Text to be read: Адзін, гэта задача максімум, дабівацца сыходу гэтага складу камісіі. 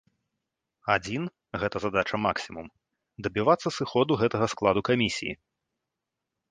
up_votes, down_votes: 2, 0